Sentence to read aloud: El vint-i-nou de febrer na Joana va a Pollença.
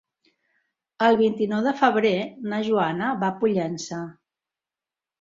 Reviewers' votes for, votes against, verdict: 3, 0, accepted